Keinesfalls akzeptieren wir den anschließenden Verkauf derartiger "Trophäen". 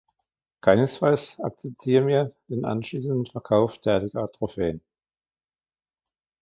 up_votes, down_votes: 1, 2